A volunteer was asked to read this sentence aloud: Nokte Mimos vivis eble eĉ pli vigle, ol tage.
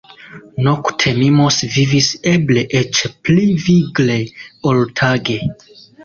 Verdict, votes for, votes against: rejected, 1, 2